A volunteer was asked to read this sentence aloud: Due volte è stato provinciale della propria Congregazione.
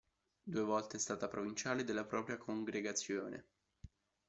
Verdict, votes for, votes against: rejected, 1, 2